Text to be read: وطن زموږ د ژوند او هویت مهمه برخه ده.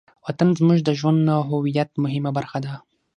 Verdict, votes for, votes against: accepted, 6, 0